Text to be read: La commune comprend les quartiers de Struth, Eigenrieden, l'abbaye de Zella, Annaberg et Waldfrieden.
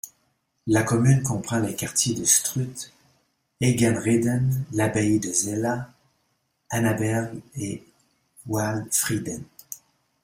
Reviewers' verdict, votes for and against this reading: rejected, 0, 2